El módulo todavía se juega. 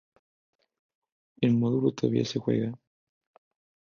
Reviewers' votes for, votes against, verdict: 2, 0, accepted